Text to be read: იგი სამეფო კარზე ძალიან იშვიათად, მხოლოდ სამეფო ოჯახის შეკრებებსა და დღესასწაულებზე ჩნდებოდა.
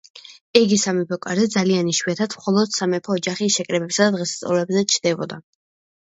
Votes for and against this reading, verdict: 2, 0, accepted